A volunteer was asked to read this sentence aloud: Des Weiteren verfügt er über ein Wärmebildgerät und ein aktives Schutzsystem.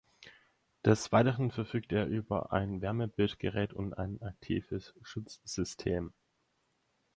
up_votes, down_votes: 4, 0